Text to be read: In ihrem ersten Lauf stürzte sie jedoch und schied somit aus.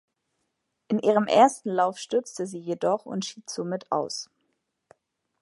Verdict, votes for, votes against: accepted, 2, 0